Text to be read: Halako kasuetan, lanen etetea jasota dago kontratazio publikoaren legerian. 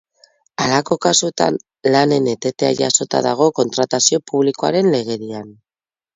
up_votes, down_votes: 0, 2